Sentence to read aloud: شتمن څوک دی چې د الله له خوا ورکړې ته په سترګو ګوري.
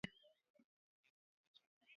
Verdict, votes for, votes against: rejected, 0, 2